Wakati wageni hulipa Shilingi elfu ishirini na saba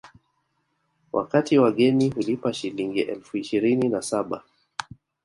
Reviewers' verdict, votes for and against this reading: rejected, 1, 2